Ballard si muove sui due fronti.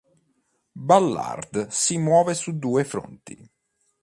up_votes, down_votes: 1, 2